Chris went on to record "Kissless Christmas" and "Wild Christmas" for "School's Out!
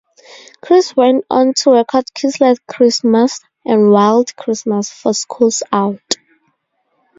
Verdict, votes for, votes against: rejected, 2, 2